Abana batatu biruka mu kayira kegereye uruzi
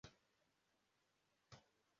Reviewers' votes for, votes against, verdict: 0, 2, rejected